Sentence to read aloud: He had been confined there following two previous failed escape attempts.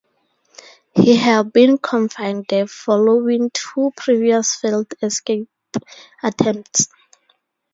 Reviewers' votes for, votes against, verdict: 2, 2, rejected